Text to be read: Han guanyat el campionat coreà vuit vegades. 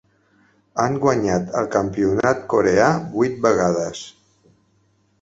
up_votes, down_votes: 6, 0